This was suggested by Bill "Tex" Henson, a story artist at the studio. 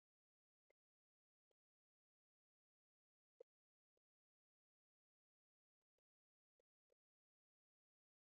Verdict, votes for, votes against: rejected, 0, 9